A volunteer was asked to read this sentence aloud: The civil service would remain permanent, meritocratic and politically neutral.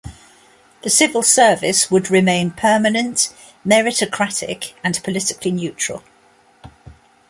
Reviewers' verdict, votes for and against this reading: accepted, 2, 0